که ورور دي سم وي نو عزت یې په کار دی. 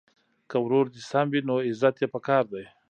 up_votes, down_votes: 2, 1